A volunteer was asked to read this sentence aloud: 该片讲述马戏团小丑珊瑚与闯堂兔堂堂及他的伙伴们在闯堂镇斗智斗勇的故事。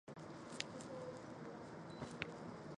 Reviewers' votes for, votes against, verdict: 1, 2, rejected